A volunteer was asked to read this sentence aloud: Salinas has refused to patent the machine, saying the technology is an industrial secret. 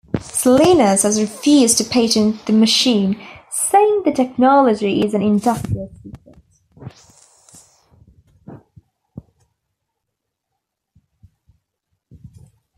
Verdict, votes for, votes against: rejected, 0, 2